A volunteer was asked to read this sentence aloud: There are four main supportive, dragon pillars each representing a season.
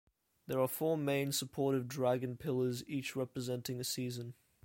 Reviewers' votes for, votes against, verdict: 2, 0, accepted